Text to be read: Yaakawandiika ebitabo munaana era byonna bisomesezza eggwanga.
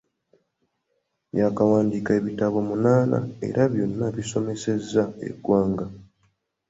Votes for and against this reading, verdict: 2, 0, accepted